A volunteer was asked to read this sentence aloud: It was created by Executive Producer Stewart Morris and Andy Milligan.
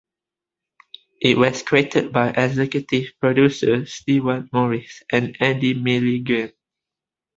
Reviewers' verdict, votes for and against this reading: accepted, 2, 0